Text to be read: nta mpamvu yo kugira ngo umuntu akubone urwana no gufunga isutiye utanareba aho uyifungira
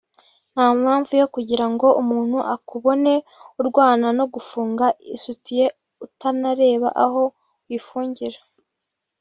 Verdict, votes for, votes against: rejected, 0, 2